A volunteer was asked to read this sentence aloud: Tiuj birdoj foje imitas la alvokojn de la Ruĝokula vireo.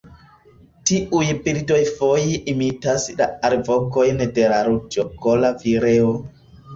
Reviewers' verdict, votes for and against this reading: rejected, 0, 2